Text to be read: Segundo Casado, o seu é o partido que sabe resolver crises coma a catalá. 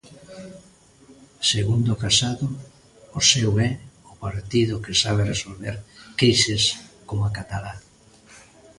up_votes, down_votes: 2, 0